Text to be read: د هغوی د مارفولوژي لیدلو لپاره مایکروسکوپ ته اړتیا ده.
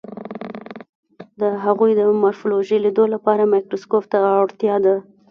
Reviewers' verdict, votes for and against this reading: rejected, 0, 2